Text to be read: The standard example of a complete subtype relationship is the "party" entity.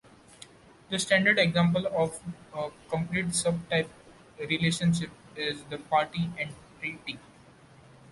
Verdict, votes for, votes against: rejected, 1, 2